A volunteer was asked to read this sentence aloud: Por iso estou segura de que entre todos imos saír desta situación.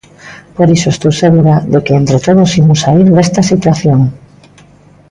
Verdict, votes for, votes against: accepted, 2, 0